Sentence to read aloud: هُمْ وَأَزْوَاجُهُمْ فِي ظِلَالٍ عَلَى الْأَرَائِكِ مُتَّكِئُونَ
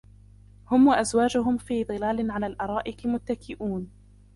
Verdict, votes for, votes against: rejected, 0, 2